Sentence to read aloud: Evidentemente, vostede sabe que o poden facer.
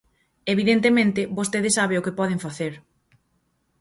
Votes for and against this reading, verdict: 0, 4, rejected